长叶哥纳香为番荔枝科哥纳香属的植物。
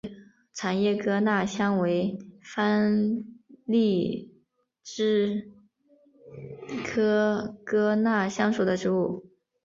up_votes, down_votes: 5, 0